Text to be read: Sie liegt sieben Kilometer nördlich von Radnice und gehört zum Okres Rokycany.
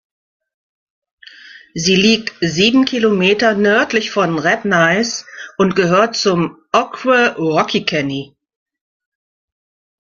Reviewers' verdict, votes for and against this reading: rejected, 1, 2